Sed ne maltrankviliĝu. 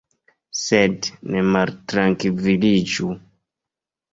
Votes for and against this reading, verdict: 2, 0, accepted